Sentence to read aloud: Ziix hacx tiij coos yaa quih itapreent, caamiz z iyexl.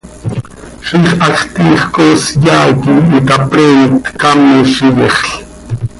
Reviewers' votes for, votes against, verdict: 2, 0, accepted